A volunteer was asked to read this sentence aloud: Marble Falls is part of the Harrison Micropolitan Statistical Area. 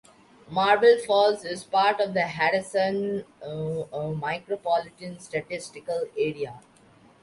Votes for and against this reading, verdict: 0, 2, rejected